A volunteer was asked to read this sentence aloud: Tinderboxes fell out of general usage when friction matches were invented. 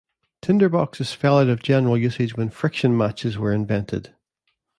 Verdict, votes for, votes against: accepted, 2, 0